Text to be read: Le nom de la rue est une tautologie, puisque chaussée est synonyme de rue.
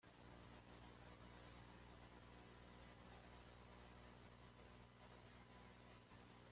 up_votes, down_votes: 0, 2